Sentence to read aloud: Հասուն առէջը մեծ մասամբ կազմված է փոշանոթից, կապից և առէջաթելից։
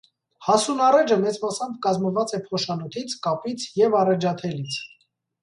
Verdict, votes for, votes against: accepted, 2, 0